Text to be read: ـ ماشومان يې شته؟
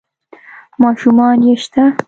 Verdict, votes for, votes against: accepted, 2, 0